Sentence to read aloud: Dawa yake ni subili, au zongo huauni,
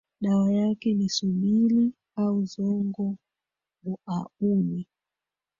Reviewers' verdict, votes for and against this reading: rejected, 1, 2